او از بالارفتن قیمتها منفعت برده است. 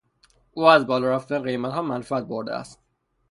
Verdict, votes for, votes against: accepted, 3, 0